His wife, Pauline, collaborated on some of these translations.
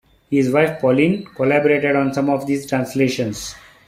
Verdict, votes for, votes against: accepted, 2, 0